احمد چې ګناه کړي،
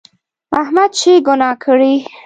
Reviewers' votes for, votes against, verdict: 2, 0, accepted